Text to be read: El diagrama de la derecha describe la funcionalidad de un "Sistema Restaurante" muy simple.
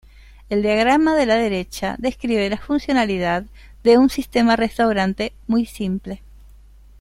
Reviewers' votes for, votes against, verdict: 2, 1, accepted